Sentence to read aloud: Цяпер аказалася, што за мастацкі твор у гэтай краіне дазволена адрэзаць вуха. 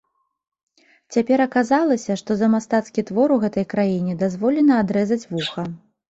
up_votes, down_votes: 2, 0